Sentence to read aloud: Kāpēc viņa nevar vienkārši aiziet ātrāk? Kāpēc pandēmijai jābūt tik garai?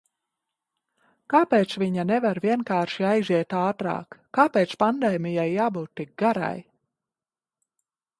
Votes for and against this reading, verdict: 2, 0, accepted